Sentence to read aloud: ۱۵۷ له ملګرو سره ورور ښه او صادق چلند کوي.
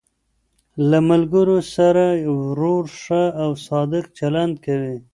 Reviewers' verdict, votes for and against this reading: rejected, 0, 2